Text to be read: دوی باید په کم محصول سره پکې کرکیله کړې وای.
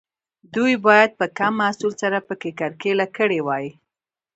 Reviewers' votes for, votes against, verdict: 2, 1, accepted